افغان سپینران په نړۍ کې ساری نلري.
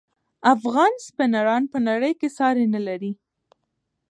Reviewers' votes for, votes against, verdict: 2, 0, accepted